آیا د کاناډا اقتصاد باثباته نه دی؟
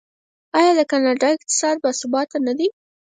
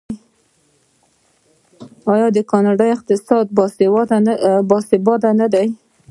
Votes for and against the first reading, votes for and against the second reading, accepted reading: 4, 0, 1, 2, first